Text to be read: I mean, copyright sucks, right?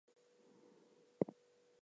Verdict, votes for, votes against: rejected, 0, 2